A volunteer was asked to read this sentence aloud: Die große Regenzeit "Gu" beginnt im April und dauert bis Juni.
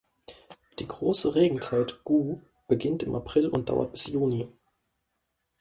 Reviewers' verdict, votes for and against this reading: accepted, 2, 0